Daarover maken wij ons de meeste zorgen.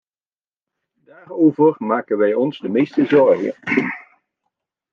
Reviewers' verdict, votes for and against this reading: rejected, 1, 2